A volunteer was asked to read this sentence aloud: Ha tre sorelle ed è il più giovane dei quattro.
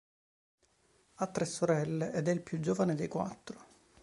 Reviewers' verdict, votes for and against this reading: accepted, 2, 0